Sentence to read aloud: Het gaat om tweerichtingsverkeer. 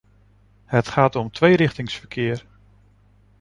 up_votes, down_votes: 2, 0